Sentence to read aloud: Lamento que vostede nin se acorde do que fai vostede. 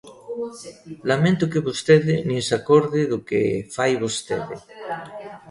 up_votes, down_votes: 1, 2